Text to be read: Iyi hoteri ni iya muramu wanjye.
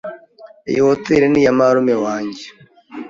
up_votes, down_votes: 2, 0